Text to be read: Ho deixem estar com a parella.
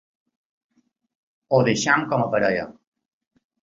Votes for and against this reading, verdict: 0, 2, rejected